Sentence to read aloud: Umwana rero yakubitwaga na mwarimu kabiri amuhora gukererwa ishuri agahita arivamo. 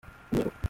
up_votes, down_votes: 0, 2